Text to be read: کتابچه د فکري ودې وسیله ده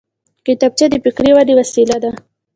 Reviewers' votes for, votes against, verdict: 3, 0, accepted